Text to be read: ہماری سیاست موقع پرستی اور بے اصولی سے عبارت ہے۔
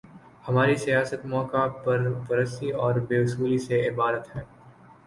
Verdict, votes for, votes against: rejected, 1, 2